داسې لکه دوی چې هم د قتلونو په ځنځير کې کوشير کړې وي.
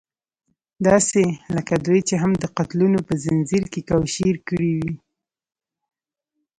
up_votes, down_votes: 2, 0